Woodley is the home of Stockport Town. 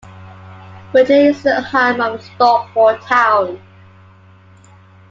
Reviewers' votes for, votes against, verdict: 2, 1, accepted